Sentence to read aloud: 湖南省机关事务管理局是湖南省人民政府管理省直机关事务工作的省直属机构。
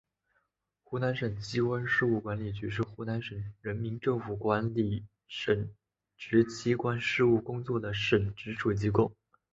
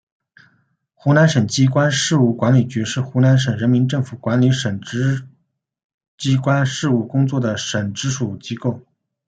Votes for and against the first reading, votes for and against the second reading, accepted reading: 4, 0, 0, 2, first